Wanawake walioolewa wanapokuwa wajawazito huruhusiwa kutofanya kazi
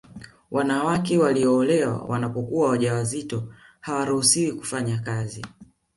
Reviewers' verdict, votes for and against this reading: rejected, 1, 2